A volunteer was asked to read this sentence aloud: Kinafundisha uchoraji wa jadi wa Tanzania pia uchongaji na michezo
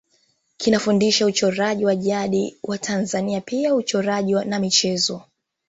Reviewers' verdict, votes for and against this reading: accepted, 2, 0